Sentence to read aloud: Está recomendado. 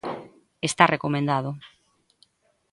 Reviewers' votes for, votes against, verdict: 2, 0, accepted